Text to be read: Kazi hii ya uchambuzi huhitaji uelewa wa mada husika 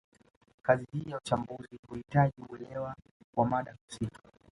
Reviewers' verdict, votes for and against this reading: rejected, 0, 2